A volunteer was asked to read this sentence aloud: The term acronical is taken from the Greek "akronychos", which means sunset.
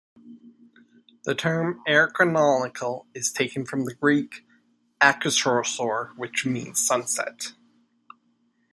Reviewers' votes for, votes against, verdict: 0, 2, rejected